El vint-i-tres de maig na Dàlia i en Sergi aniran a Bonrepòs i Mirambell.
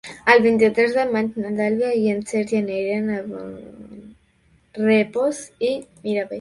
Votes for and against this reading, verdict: 0, 2, rejected